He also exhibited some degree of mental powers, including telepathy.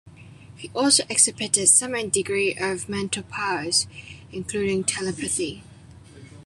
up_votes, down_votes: 0, 2